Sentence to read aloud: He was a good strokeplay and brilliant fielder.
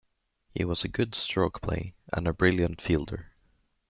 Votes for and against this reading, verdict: 1, 2, rejected